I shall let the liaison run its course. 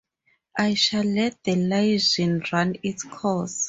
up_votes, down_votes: 0, 2